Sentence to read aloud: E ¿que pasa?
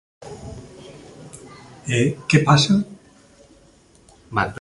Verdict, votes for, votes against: rejected, 1, 2